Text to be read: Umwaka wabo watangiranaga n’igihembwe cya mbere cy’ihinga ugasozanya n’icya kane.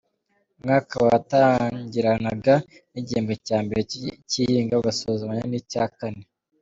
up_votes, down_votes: 0, 3